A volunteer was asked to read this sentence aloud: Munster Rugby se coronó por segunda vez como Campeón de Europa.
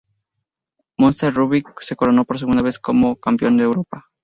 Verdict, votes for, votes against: accepted, 2, 0